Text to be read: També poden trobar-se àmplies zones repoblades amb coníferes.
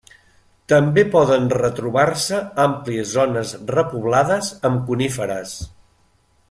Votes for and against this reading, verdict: 0, 2, rejected